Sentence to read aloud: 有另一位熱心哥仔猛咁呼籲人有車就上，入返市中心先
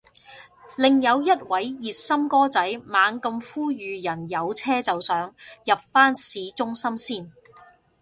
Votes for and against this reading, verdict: 0, 2, rejected